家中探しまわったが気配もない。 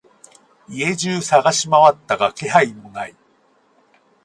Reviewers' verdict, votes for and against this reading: accepted, 4, 0